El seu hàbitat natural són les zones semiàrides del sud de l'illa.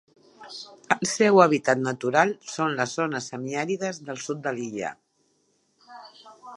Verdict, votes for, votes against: accepted, 2, 0